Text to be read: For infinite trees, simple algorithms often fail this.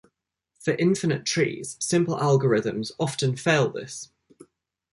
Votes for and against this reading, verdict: 2, 0, accepted